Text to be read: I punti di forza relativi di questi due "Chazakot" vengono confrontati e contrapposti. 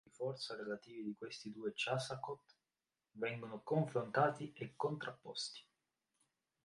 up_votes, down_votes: 1, 3